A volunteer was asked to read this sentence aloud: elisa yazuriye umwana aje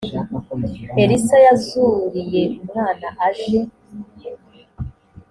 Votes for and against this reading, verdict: 2, 0, accepted